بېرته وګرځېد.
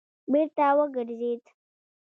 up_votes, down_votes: 2, 1